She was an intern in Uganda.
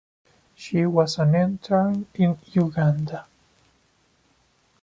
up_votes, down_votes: 2, 0